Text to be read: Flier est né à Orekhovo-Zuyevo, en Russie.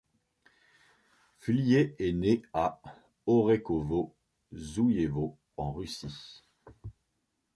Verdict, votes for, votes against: accepted, 2, 0